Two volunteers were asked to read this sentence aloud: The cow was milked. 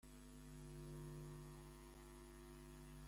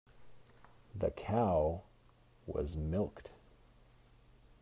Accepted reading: second